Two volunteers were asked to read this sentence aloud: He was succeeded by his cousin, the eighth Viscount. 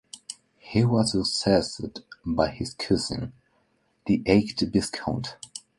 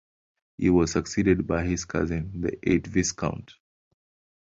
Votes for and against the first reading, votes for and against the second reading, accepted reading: 0, 2, 2, 0, second